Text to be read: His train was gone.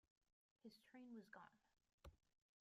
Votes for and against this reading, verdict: 0, 2, rejected